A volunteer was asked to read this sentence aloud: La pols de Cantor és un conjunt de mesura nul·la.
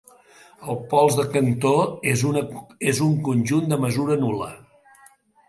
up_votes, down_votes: 0, 2